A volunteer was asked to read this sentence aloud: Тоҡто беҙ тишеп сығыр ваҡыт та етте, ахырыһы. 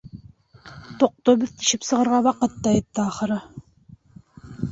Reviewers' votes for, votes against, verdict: 0, 2, rejected